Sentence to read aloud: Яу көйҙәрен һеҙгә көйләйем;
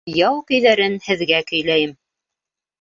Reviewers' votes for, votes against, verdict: 1, 2, rejected